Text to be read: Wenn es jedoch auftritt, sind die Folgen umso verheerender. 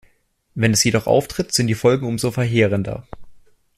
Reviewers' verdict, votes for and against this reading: accepted, 2, 0